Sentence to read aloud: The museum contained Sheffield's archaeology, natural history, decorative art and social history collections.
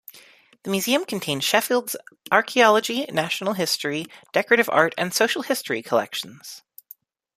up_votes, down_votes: 2, 0